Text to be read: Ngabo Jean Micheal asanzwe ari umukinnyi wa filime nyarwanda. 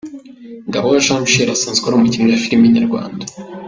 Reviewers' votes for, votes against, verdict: 1, 2, rejected